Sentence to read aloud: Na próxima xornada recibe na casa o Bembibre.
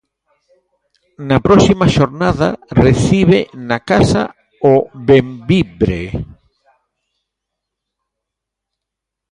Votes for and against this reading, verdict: 1, 2, rejected